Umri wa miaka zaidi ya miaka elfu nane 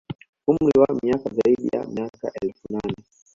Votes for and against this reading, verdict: 0, 2, rejected